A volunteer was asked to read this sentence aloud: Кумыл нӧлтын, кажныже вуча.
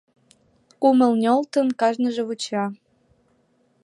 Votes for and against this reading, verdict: 2, 1, accepted